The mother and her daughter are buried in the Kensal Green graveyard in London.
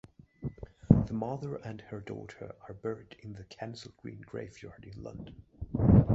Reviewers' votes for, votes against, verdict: 2, 0, accepted